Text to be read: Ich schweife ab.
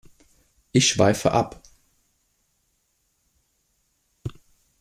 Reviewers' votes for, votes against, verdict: 2, 0, accepted